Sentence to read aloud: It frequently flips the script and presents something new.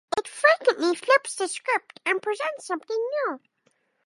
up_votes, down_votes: 2, 0